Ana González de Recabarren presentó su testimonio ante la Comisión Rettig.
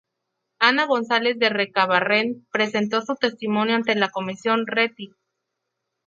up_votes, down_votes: 2, 0